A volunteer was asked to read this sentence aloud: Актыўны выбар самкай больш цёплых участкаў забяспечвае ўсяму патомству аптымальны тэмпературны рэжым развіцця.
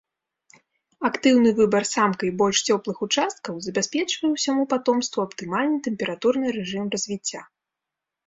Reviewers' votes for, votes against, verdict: 2, 0, accepted